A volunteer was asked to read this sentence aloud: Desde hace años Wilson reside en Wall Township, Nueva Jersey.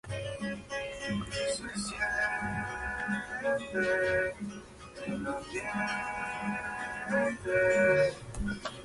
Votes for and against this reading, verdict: 0, 2, rejected